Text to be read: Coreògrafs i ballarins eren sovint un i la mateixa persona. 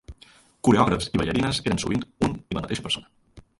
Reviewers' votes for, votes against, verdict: 0, 2, rejected